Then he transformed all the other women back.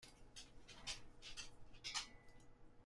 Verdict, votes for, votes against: rejected, 0, 2